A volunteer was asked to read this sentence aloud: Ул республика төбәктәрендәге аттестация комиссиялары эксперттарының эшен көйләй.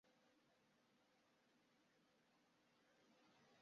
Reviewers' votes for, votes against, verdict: 0, 2, rejected